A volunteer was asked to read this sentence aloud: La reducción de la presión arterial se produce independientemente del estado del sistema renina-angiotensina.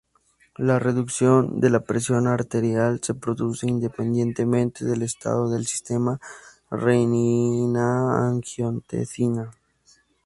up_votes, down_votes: 2, 0